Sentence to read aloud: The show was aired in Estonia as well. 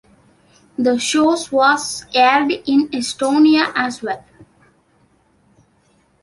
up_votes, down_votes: 1, 2